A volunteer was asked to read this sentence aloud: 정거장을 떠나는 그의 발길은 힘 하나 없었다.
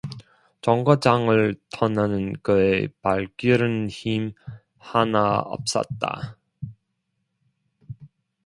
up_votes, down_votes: 0, 2